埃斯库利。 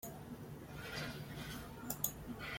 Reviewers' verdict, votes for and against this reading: rejected, 0, 2